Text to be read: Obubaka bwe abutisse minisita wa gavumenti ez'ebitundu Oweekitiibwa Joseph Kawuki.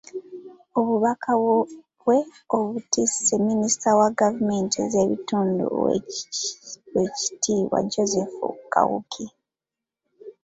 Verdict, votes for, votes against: rejected, 1, 2